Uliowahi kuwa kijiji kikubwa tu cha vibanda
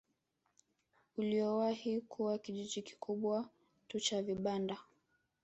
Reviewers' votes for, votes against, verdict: 0, 2, rejected